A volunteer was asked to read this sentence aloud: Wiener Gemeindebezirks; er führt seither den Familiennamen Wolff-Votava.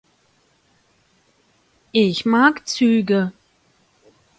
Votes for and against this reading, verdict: 0, 2, rejected